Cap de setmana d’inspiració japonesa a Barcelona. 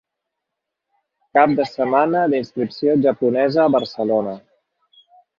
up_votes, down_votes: 2, 3